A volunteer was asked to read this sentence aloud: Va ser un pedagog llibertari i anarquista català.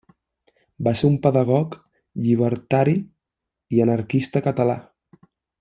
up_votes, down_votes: 3, 0